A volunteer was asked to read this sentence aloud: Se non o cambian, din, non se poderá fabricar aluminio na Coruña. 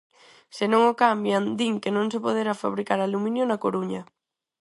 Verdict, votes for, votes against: rejected, 0, 4